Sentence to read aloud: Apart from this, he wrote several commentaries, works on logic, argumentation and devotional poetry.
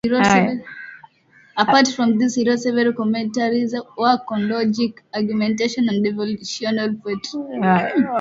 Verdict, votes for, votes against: rejected, 0, 2